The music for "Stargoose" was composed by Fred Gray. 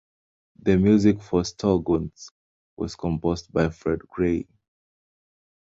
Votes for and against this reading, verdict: 0, 2, rejected